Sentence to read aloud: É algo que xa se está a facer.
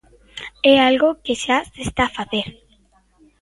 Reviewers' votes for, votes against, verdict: 2, 0, accepted